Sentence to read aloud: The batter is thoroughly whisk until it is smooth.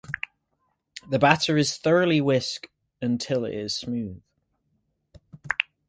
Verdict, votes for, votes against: accepted, 4, 0